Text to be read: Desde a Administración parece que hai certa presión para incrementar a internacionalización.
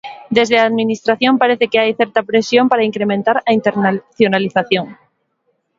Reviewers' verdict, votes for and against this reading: rejected, 0, 2